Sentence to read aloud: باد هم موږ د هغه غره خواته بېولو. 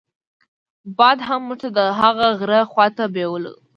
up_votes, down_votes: 2, 0